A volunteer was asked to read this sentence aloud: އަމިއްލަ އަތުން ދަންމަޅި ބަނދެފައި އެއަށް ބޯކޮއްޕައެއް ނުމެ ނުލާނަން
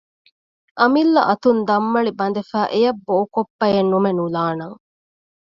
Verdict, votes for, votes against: accepted, 2, 0